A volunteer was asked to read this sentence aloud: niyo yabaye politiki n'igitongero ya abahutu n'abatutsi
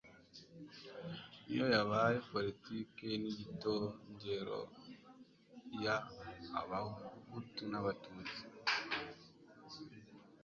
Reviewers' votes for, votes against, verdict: 2, 0, accepted